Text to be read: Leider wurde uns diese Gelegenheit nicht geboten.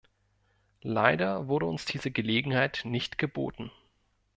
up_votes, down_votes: 2, 0